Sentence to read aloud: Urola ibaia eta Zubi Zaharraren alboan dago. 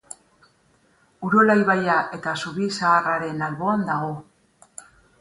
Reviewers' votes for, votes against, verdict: 4, 0, accepted